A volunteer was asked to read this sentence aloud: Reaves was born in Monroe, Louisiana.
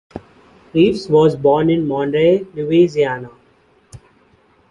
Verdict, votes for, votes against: rejected, 1, 2